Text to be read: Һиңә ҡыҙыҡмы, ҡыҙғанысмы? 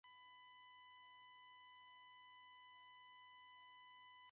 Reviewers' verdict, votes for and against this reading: rejected, 0, 2